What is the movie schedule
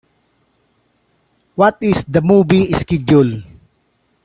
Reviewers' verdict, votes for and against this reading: accepted, 2, 1